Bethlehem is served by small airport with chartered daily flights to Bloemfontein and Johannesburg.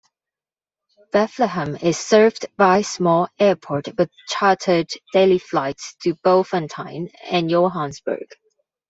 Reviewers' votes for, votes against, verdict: 2, 0, accepted